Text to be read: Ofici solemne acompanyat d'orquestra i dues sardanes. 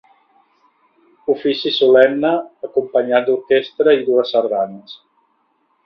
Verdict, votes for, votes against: accepted, 2, 0